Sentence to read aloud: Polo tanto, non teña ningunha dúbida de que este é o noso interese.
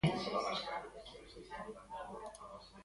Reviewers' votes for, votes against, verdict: 0, 3, rejected